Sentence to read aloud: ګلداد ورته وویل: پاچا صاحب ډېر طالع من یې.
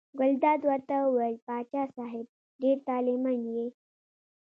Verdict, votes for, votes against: accepted, 2, 0